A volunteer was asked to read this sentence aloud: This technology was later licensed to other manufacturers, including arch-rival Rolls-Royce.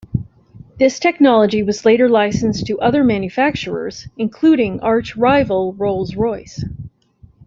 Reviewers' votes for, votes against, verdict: 2, 0, accepted